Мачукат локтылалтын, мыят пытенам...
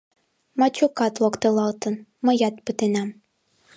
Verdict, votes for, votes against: accepted, 3, 0